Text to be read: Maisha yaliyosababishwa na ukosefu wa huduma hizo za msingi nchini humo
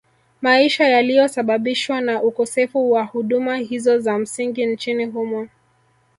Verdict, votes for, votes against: accepted, 2, 0